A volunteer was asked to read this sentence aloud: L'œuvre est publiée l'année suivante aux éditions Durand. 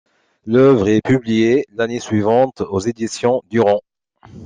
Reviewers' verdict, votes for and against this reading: accepted, 2, 0